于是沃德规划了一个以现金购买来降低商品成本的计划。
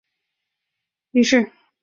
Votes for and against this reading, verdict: 0, 2, rejected